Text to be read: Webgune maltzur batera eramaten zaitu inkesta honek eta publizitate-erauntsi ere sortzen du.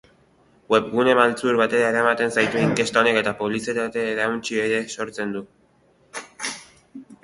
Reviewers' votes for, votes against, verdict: 3, 0, accepted